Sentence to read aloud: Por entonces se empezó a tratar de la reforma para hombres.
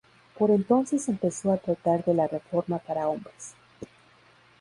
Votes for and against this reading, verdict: 2, 0, accepted